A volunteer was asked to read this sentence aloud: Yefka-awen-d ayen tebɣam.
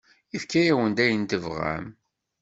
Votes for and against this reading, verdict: 2, 0, accepted